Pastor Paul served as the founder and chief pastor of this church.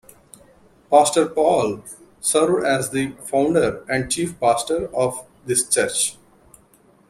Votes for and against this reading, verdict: 1, 2, rejected